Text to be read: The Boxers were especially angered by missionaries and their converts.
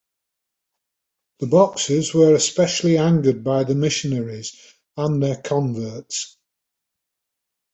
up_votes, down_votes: 2, 1